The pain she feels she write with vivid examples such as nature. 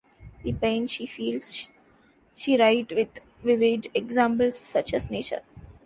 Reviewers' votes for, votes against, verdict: 0, 2, rejected